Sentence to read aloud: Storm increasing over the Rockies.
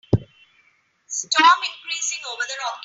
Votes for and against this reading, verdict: 1, 2, rejected